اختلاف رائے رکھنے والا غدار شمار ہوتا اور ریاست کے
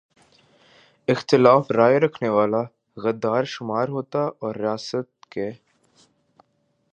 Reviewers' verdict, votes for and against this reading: accepted, 2, 1